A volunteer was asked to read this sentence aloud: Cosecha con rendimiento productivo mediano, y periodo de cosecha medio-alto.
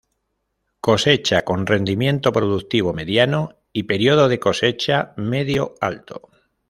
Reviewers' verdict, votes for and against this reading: accepted, 2, 0